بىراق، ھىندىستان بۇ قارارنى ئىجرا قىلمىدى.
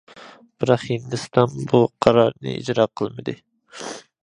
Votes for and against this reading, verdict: 2, 0, accepted